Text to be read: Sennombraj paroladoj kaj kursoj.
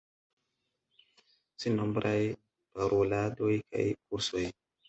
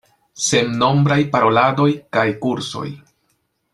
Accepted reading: second